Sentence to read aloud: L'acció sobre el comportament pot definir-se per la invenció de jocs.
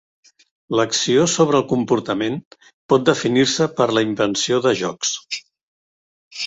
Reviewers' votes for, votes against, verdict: 3, 0, accepted